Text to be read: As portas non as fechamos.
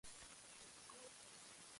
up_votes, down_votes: 0, 2